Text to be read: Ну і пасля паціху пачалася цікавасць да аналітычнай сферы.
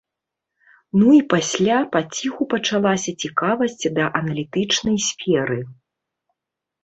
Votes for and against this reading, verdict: 2, 0, accepted